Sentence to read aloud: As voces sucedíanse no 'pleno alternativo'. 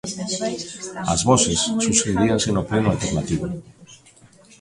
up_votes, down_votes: 0, 2